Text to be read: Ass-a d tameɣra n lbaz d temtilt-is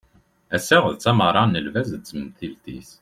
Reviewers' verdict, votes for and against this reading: accepted, 2, 0